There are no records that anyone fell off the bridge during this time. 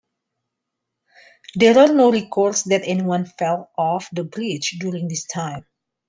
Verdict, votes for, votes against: accepted, 2, 0